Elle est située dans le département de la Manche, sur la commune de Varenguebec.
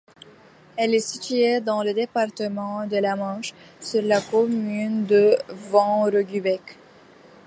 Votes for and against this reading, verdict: 1, 2, rejected